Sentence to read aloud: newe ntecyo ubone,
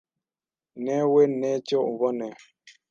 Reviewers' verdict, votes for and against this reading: rejected, 1, 2